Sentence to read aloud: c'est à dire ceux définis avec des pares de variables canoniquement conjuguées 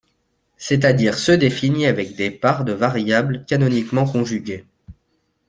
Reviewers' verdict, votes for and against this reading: accepted, 2, 0